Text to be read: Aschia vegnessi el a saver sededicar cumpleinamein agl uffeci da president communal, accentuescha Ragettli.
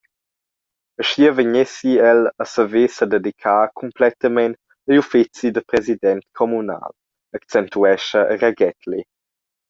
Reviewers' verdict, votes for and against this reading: rejected, 1, 2